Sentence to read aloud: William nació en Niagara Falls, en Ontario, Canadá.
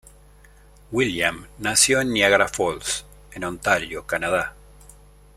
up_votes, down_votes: 2, 0